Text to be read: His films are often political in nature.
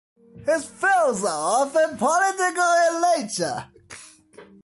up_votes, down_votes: 2, 0